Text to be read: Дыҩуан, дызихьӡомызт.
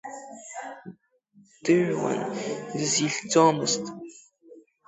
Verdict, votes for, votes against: accepted, 2, 0